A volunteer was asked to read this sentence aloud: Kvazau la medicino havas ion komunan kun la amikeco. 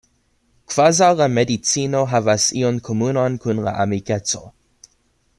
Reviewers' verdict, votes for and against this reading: accepted, 2, 0